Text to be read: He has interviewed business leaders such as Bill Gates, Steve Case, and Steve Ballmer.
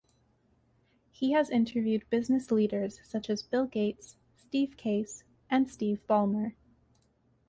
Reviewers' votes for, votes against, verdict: 2, 0, accepted